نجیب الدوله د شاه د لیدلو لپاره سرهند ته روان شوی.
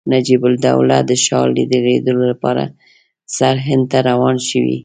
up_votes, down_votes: 2, 1